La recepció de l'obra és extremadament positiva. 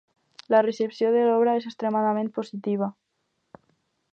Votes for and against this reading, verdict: 4, 0, accepted